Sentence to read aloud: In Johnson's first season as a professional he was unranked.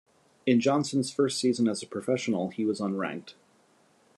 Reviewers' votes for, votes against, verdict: 2, 0, accepted